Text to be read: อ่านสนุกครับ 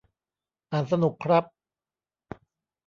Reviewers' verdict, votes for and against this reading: accepted, 3, 0